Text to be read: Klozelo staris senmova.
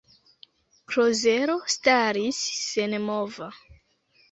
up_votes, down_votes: 0, 2